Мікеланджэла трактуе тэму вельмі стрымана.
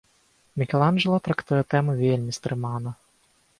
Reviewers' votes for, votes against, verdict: 0, 4, rejected